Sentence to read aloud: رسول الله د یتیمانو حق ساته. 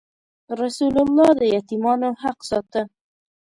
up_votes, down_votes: 2, 0